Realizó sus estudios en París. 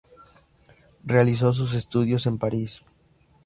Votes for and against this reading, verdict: 2, 0, accepted